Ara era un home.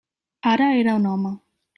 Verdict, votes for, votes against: accepted, 3, 0